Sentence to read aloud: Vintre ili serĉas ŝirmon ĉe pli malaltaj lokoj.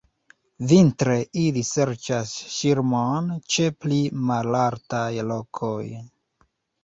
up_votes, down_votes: 2, 1